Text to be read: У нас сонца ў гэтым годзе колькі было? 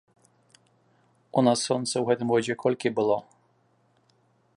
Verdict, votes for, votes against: accepted, 2, 0